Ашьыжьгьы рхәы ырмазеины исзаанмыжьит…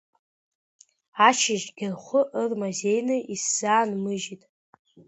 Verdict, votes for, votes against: accepted, 2, 0